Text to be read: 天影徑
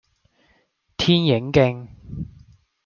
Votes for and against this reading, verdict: 1, 2, rejected